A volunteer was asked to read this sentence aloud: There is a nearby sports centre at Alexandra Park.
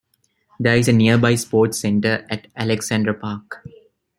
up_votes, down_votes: 2, 0